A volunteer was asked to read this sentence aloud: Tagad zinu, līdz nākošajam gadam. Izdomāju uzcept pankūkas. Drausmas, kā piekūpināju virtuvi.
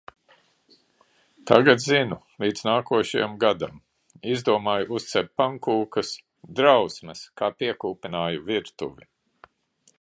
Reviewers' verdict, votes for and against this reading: accepted, 2, 0